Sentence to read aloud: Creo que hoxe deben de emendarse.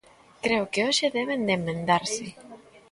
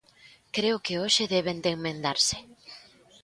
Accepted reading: second